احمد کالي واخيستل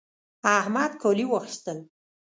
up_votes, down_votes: 2, 0